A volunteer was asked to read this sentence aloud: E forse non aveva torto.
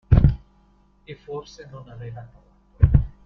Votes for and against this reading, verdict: 2, 0, accepted